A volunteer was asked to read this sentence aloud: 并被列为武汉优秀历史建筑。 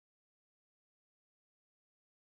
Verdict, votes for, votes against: rejected, 1, 2